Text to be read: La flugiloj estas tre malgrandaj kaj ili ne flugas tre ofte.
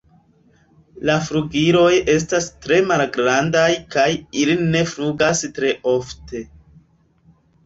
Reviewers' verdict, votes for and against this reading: rejected, 0, 3